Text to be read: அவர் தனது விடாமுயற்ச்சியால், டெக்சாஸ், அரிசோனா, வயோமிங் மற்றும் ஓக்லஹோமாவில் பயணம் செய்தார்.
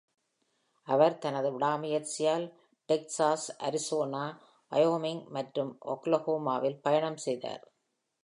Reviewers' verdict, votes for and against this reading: accepted, 2, 0